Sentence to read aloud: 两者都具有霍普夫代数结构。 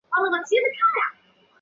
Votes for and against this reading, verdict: 1, 3, rejected